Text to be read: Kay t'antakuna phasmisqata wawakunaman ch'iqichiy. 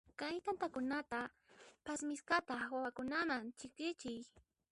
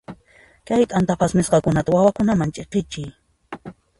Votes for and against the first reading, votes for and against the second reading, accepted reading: 1, 2, 3, 0, second